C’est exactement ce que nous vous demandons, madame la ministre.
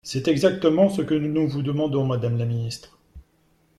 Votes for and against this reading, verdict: 0, 2, rejected